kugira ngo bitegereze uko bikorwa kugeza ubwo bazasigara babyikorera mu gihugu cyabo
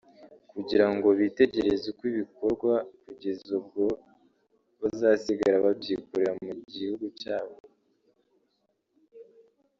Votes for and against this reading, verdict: 3, 1, accepted